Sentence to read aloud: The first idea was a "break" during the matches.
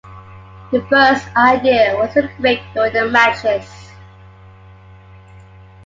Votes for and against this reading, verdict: 2, 1, accepted